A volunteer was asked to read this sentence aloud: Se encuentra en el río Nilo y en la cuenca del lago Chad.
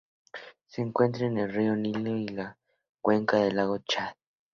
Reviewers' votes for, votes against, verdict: 4, 0, accepted